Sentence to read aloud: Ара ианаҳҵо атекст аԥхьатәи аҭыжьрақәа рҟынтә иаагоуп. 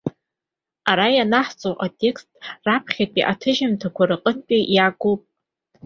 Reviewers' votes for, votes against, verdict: 1, 2, rejected